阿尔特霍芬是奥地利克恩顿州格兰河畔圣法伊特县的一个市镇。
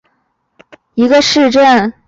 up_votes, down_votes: 0, 2